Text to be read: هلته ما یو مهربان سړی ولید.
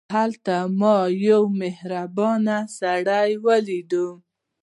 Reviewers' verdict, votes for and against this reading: rejected, 0, 2